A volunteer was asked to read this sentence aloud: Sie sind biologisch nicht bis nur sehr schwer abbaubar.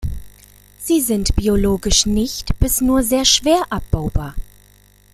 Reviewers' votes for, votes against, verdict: 2, 0, accepted